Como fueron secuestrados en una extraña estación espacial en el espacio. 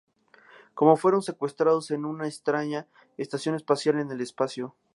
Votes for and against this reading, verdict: 2, 0, accepted